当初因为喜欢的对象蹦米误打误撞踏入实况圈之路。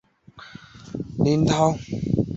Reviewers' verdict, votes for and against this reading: rejected, 0, 3